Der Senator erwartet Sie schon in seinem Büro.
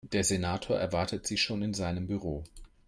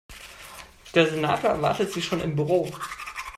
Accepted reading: first